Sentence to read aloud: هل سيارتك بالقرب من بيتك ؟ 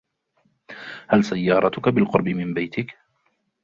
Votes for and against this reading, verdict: 1, 2, rejected